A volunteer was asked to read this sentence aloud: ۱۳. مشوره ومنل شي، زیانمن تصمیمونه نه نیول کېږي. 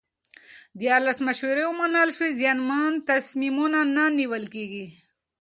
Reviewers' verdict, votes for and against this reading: rejected, 0, 2